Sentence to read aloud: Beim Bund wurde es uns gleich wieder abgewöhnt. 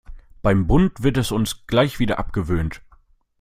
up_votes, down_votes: 0, 2